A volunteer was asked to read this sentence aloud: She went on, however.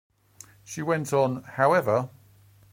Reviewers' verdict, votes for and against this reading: rejected, 0, 2